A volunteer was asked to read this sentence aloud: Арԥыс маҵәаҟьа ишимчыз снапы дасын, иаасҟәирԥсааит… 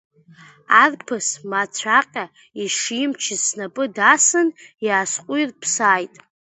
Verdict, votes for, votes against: accepted, 2, 0